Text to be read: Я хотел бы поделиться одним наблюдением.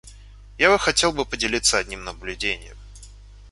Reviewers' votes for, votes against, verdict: 1, 2, rejected